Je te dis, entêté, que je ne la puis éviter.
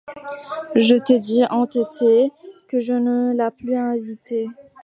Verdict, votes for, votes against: rejected, 1, 2